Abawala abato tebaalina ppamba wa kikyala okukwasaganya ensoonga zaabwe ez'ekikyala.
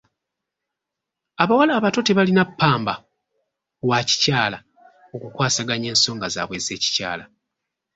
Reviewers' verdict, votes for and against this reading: rejected, 1, 2